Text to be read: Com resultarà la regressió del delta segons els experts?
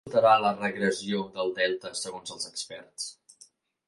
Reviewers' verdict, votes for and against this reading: rejected, 0, 2